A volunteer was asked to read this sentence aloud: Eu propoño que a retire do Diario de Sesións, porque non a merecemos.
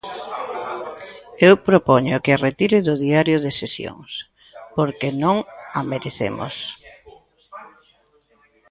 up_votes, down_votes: 1, 2